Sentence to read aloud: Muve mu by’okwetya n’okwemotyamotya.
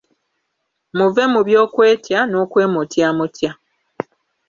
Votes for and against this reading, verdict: 3, 0, accepted